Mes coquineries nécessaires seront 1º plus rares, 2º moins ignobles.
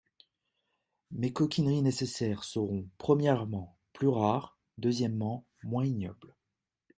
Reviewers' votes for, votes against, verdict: 0, 2, rejected